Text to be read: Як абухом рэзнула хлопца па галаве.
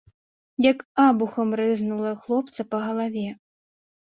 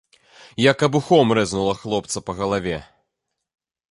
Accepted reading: second